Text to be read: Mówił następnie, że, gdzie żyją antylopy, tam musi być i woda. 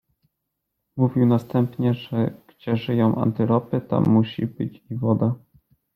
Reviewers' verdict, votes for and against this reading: accepted, 2, 0